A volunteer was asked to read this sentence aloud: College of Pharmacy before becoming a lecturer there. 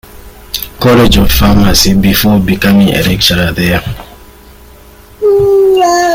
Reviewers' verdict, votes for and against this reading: rejected, 1, 2